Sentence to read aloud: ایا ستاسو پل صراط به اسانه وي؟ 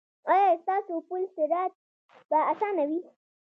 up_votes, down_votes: 1, 2